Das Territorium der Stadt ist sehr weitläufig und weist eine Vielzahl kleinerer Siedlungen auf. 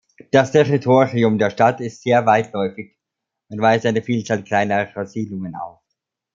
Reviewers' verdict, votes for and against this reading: accepted, 2, 0